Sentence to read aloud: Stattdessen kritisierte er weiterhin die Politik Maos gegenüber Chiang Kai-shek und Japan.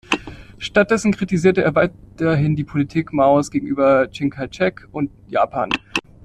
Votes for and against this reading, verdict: 1, 2, rejected